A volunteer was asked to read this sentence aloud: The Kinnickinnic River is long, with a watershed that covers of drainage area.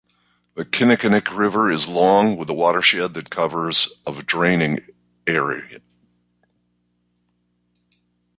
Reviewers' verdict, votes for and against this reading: rejected, 1, 2